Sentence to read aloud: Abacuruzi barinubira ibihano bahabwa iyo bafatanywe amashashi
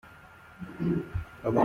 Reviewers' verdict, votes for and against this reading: rejected, 0, 2